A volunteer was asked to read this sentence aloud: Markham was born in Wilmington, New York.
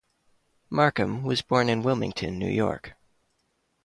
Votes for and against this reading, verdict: 2, 0, accepted